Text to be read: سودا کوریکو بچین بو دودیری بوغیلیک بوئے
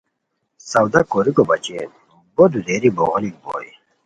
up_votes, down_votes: 2, 0